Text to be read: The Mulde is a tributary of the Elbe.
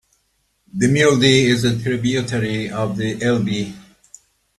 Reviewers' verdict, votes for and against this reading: rejected, 1, 2